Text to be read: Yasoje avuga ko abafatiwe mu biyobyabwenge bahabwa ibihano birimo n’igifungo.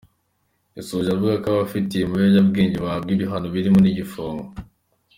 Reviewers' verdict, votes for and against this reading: accepted, 2, 1